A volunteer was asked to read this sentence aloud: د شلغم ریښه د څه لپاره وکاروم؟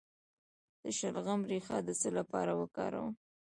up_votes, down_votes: 1, 2